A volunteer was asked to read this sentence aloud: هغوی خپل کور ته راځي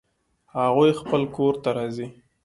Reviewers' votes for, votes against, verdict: 2, 0, accepted